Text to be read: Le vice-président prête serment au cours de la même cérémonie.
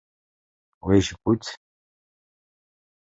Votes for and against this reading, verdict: 0, 2, rejected